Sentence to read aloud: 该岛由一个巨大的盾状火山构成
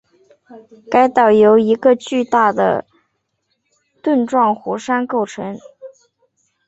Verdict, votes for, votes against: accepted, 10, 0